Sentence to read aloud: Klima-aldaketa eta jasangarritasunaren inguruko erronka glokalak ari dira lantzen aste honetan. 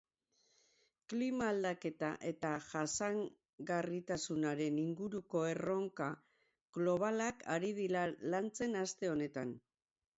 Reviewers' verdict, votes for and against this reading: rejected, 2, 4